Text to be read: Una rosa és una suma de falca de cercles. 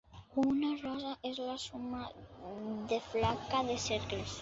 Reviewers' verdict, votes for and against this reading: rejected, 0, 2